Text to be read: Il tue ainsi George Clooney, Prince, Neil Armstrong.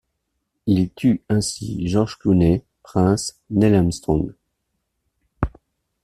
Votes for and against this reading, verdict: 2, 0, accepted